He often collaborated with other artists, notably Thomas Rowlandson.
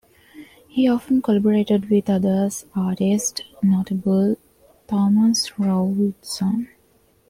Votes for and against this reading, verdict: 1, 2, rejected